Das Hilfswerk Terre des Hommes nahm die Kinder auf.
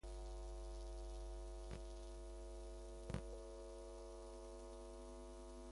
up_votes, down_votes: 0, 2